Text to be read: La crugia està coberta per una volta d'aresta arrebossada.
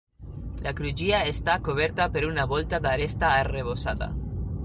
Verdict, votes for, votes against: rejected, 1, 2